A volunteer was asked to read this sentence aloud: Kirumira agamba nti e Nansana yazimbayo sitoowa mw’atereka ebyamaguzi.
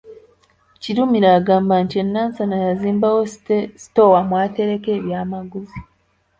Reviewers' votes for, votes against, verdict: 0, 2, rejected